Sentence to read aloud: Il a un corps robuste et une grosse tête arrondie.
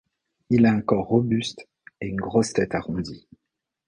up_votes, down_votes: 2, 0